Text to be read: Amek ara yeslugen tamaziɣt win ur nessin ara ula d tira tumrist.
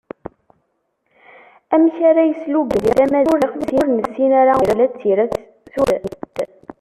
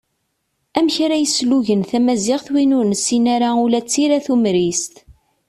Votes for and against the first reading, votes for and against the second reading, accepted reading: 0, 2, 2, 0, second